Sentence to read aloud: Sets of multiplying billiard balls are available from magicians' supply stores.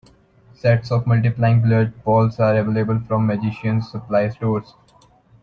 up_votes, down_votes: 2, 1